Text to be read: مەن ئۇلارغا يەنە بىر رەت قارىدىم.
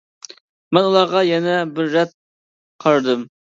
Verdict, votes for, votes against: accepted, 2, 0